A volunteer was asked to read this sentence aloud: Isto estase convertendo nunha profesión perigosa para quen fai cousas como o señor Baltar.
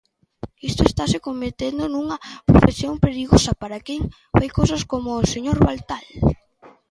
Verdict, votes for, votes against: rejected, 1, 2